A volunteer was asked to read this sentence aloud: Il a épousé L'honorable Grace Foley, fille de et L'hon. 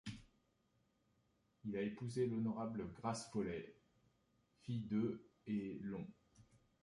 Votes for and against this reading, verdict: 2, 1, accepted